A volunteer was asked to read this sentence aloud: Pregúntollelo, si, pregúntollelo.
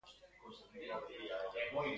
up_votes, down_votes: 0, 2